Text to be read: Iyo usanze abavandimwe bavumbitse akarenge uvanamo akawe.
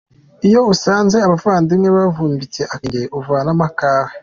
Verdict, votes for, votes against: accepted, 2, 1